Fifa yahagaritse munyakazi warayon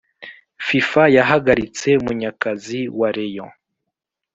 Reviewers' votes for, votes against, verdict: 2, 0, accepted